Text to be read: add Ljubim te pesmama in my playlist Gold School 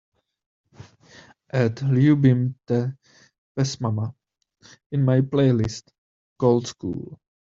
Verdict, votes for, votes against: accepted, 3, 0